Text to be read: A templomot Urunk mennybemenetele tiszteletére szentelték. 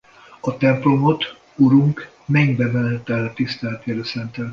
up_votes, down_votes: 0, 2